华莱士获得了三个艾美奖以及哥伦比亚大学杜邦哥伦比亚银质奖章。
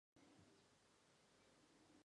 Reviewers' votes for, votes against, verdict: 0, 3, rejected